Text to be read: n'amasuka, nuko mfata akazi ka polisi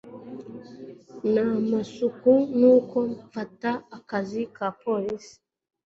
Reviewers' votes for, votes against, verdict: 2, 0, accepted